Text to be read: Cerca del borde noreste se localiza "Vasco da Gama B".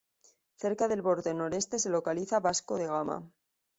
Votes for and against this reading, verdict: 0, 2, rejected